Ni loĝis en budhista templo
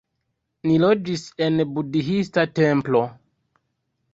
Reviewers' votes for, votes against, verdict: 2, 3, rejected